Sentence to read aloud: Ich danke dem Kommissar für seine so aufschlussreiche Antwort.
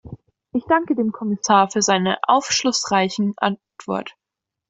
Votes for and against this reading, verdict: 0, 2, rejected